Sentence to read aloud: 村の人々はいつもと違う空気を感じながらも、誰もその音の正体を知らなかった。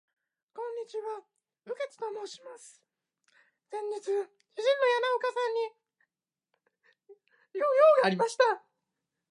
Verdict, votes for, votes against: rejected, 1, 2